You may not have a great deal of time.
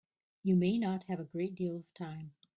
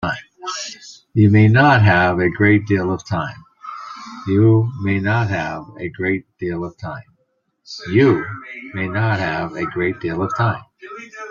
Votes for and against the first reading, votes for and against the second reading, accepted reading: 2, 1, 0, 2, first